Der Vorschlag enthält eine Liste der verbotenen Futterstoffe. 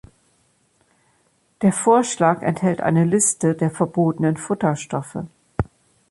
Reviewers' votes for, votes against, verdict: 2, 0, accepted